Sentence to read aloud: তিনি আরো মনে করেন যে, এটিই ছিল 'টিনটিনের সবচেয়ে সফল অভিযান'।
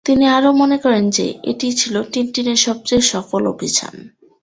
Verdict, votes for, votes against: accepted, 2, 0